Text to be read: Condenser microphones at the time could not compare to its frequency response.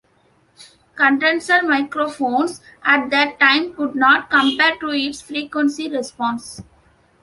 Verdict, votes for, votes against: accepted, 2, 0